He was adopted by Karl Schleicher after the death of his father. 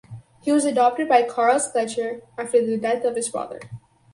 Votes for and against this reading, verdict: 2, 2, rejected